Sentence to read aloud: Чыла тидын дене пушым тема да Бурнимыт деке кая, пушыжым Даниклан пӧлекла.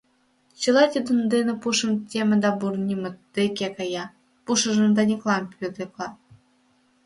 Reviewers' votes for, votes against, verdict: 1, 2, rejected